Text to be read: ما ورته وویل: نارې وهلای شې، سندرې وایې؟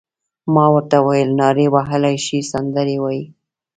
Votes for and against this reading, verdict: 1, 2, rejected